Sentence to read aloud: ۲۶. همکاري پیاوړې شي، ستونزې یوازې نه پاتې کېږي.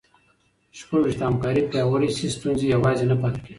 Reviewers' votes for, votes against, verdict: 0, 2, rejected